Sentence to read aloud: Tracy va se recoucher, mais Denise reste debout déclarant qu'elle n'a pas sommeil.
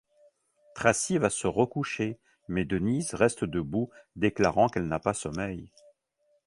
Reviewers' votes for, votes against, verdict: 1, 2, rejected